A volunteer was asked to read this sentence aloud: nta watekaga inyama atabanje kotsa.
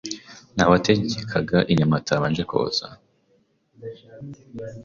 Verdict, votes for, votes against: rejected, 1, 2